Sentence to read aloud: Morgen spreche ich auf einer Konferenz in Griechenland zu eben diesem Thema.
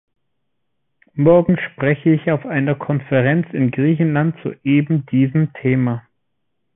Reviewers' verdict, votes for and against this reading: accepted, 3, 0